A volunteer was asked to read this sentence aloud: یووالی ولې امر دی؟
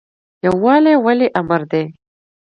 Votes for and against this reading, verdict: 2, 0, accepted